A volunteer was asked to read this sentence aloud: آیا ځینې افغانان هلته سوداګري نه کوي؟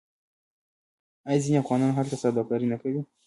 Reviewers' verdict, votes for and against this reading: rejected, 0, 2